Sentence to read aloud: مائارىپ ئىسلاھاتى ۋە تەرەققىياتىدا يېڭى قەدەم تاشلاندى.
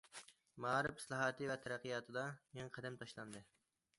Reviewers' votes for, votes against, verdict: 2, 0, accepted